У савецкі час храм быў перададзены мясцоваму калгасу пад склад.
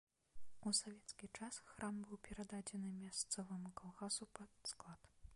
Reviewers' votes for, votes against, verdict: 2, 1, accepted